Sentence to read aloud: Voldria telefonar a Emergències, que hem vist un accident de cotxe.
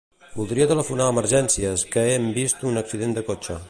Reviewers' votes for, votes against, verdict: 2, 0, accepted